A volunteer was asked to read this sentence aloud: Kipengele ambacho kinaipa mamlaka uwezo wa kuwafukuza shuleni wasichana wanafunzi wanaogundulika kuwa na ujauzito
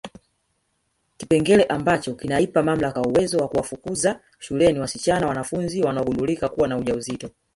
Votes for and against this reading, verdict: 1, 2, rejected